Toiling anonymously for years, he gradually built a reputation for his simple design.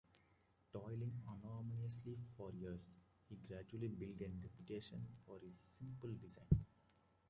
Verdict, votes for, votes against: rejected, 0, 2